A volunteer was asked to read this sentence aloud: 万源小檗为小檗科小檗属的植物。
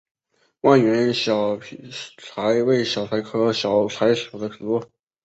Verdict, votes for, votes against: rejected, 1, 2